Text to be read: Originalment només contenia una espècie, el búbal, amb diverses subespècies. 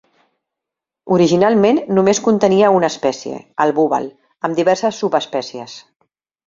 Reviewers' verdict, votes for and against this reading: accepted, 3, 0